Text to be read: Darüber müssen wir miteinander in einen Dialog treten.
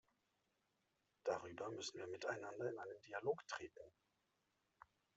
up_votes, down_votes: 1, 2